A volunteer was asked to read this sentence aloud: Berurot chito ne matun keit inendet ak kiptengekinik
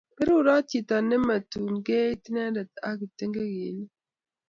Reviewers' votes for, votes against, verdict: 2, 0, accepted